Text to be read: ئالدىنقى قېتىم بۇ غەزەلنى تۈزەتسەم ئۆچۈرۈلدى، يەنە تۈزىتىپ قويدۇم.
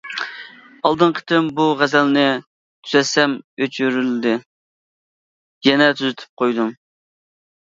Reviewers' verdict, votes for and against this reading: accepted, 3, 0